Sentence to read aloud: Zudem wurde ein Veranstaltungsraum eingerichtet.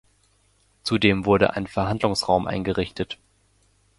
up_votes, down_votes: 0, 2